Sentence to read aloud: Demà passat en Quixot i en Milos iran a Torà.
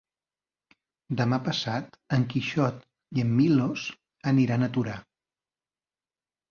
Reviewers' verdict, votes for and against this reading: rejected, 0, 2